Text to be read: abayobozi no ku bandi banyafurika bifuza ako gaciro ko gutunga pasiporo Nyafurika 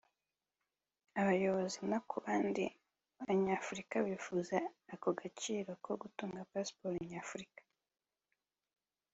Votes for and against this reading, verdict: 3, 0, accepted